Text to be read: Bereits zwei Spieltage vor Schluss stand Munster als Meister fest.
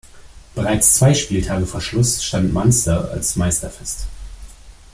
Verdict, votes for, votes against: rejected, 1, 2